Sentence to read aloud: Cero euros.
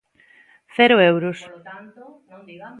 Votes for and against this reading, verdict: 1, 2, rejected